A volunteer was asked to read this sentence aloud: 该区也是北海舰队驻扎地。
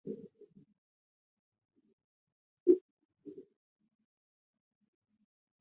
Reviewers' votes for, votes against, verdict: 0, 4, rejected